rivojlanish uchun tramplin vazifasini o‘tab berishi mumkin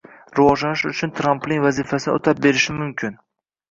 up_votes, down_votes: 0, 2